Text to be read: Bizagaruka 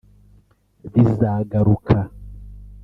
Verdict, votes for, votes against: rejected, 1, 2